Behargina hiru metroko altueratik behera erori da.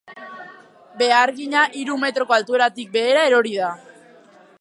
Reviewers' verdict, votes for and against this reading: accepted, 2, 0